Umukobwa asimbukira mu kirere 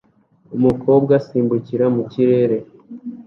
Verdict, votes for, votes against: accepted, 2, 0